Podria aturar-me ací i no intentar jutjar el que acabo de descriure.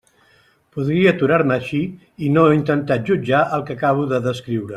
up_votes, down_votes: 2, 0